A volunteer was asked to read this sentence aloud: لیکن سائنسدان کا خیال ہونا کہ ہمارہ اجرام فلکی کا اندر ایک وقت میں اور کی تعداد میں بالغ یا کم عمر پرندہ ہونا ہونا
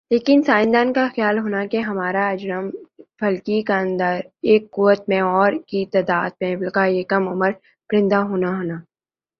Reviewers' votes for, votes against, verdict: 2, 3, rejected